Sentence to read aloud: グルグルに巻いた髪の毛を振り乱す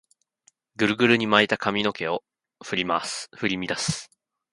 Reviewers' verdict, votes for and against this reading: rejected, 1, 2